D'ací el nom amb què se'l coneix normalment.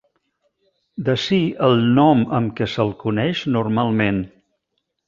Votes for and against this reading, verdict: 2, 0, accepted